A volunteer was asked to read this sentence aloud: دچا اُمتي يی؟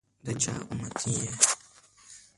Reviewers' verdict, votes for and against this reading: rejected, 1, 2